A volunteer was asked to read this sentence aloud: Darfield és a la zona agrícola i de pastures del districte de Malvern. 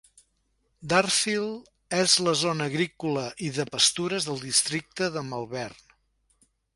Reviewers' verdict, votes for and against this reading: rejected, 1, 2